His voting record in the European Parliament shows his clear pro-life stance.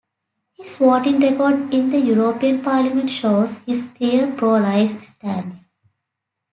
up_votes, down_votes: 2, 0